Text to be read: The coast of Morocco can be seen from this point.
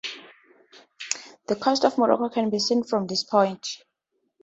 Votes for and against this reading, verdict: 0, 2, rejected